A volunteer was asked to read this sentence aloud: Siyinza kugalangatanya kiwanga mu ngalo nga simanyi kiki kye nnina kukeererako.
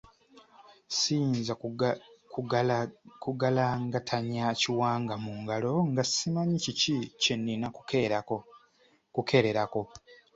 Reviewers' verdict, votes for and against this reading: rejected, 0, 2